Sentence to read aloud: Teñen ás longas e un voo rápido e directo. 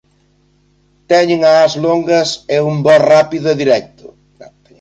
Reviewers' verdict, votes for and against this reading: rejected, 0, 2